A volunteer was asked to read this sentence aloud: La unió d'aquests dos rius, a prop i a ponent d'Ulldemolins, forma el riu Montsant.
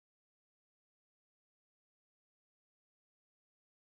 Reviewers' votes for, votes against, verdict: 0, 2, rejected